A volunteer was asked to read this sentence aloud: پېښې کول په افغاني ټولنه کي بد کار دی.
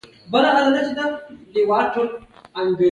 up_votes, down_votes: 1, 2